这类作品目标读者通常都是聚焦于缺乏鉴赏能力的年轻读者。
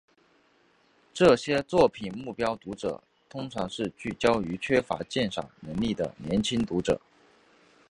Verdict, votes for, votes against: rejected, 1, 4